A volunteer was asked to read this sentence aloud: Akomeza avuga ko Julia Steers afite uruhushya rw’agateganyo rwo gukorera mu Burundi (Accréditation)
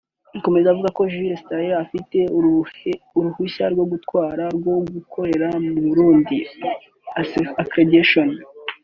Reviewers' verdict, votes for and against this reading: rejected, 0, 2